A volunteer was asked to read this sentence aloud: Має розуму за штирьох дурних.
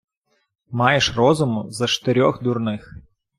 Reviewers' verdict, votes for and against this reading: accepted, 2, 1